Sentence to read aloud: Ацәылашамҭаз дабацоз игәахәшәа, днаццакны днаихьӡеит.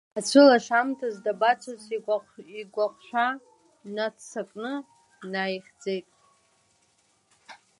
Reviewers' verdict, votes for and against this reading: rejected, 1, 2